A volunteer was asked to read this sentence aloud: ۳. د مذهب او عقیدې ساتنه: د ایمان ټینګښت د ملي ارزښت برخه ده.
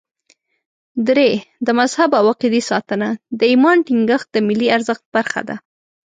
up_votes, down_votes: 0, 2